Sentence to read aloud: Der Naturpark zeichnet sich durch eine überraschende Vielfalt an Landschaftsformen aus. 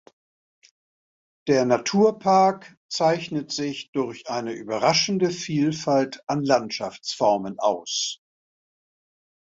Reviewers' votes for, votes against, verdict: 2, 0, accepted